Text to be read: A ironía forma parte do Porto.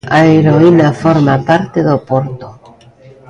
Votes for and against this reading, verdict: 0, 2, rejected